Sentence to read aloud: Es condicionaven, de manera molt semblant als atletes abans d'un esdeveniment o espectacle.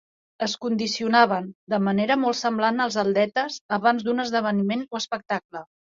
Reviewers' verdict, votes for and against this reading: accepted, 3, 0